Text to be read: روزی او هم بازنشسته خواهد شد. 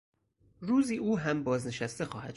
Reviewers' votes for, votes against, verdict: 0, 4, rejected